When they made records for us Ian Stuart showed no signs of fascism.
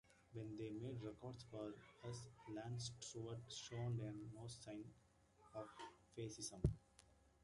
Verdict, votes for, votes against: rejected, 0, 2